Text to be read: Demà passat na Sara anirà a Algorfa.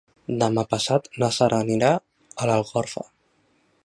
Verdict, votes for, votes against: rejected, 1, 2